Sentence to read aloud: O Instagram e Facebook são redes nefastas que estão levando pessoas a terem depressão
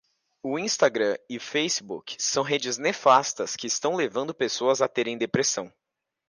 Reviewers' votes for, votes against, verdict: 2, 0, accepted